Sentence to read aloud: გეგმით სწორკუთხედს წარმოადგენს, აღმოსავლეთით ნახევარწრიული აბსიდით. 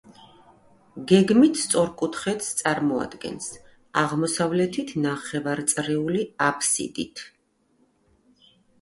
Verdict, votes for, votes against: accepted, 2, 0